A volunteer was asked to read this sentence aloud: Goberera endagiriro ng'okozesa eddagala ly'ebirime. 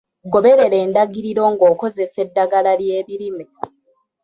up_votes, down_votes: 2, 1